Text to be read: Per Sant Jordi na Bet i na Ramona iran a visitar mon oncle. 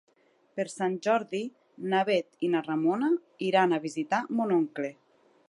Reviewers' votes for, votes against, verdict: 9, 0, accepted